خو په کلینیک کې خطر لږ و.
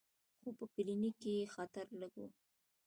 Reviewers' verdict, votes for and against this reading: accepted, 3, 0